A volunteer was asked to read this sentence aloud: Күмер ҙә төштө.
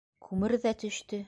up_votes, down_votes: 2, 0